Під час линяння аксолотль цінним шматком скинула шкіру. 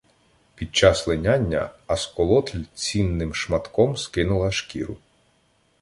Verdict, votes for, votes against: rejected, 1, 2